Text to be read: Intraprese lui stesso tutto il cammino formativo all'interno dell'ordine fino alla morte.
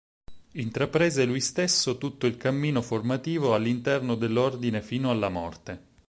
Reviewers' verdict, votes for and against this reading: accepted, 4, 0